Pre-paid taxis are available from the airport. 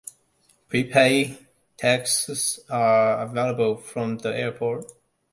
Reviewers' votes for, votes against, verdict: 2, 0, accepted